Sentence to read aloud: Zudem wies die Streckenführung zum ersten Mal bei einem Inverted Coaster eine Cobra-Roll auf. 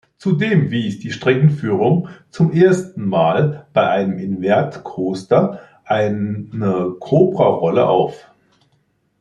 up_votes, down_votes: 0, 2